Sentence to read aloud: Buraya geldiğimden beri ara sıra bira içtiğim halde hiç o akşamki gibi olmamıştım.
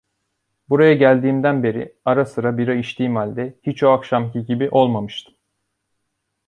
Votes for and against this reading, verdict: 2, 0, accepted